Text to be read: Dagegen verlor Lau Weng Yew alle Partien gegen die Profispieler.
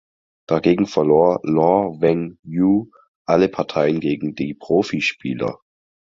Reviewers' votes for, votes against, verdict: 2, 4, rejected